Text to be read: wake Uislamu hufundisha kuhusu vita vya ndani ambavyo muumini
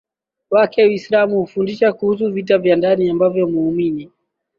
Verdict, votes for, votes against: accepted, 10, 2